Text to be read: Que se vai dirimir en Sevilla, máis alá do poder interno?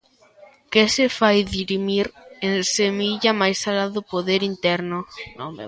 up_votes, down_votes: 0, 2